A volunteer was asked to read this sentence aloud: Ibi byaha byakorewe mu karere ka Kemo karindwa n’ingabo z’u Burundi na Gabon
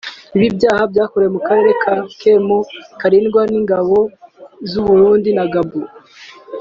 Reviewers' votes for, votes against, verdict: 2, 0, accepted